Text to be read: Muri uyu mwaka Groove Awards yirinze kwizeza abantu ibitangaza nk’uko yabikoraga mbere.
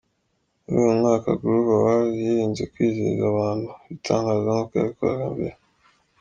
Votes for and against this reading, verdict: 2, 0, accepted